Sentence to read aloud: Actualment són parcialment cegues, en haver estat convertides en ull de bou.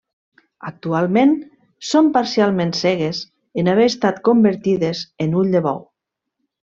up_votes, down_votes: 2, 0